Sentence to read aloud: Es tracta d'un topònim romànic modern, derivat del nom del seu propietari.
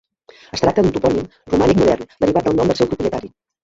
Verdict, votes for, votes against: accepted, 2, 1